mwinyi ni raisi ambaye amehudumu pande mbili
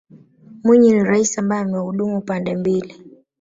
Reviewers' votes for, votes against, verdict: 2, 1, accepted